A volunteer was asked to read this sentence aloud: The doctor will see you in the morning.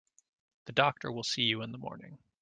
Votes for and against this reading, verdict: 2, 1, accepted